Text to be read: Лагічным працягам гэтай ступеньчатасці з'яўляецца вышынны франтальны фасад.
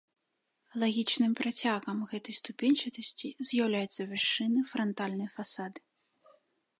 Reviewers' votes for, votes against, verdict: 2, 0, accepted